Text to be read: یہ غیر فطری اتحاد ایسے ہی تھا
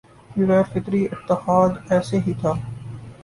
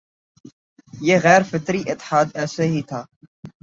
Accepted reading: second